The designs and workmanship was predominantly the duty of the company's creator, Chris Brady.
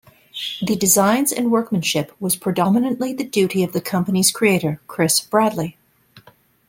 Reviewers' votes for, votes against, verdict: 0, 2, rejected